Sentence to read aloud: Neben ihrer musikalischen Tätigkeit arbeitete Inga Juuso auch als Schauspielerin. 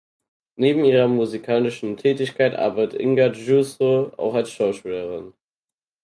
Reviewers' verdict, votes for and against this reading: rejected, 0, 4